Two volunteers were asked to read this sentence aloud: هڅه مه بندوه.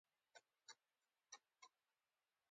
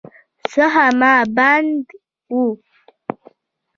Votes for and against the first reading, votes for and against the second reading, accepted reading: 3, 0, 1, 3, first